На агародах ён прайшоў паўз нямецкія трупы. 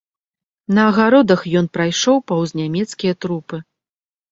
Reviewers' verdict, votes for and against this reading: accepted, 2, 0